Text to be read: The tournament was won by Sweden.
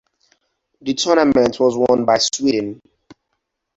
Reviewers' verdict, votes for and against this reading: accepted, 2, 0